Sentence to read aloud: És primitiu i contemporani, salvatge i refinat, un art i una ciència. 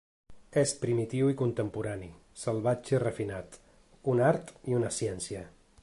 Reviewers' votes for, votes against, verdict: 2, 0, accepted